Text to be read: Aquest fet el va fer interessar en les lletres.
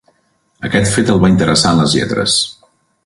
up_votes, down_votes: 1, 2